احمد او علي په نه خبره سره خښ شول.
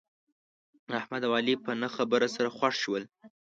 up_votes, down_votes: 2, 0